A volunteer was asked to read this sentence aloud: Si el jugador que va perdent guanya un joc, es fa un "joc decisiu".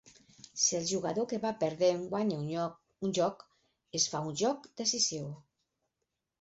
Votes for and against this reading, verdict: 0, 4, rejected